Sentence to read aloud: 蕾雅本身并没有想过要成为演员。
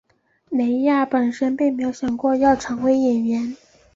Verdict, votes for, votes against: accepted, 3, 0